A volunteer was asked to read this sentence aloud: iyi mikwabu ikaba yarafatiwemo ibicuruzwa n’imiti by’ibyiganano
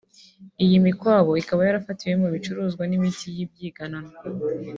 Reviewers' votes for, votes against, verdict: 2, 0, accepted